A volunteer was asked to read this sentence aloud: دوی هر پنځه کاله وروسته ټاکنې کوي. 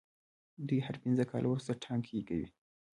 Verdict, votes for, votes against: rejected, 1, 2